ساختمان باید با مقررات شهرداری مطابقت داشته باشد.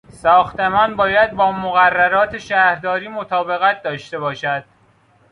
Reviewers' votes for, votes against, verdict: 2, 0, accepted